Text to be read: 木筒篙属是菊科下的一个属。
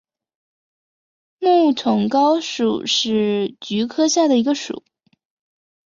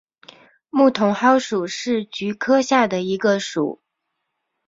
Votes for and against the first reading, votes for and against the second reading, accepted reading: 1, 2, 2, 0, second